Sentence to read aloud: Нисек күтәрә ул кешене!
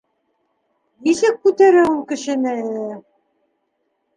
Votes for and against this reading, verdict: 1, 2, rejected